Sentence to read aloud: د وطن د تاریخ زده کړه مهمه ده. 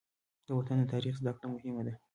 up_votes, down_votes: 0, 2